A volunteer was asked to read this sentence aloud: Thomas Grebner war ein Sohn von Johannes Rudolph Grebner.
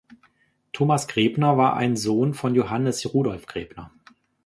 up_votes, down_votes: 3, 0